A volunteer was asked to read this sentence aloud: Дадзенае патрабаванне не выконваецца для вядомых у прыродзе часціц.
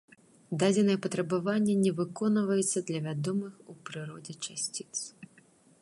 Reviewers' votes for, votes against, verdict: 1, 2, rejected